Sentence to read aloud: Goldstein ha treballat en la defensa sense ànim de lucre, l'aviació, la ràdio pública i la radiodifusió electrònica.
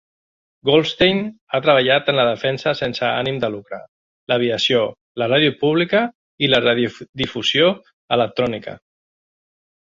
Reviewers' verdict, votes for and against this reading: rejected, 0, 2